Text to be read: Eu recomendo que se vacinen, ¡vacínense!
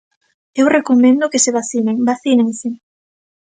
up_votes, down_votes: 2, 0